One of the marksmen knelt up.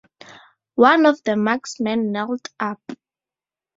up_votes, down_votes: 4, 0